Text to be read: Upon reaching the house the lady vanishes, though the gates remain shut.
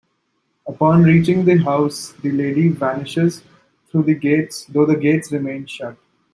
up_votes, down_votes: 1, 2